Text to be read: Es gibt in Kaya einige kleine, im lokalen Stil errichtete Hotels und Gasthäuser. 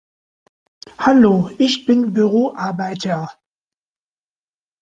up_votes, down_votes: 0, 2